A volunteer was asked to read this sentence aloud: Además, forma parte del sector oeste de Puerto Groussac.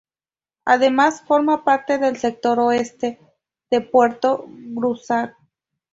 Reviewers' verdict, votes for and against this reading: rejected, 0, 2